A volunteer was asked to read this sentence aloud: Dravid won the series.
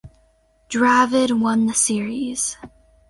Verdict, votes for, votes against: accepted, 4, 0